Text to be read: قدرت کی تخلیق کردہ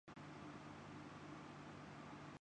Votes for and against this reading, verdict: 0, 2, rejected